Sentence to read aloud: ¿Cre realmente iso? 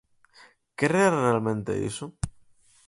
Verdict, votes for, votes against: accepted, 4, 2